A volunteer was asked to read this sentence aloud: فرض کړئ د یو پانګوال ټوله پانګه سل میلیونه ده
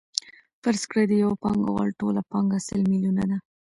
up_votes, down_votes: 1, 2